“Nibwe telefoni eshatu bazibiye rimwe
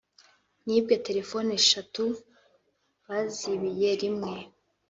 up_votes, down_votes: 2, 0